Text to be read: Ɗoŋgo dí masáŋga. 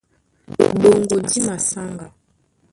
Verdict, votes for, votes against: rejected, 0, 2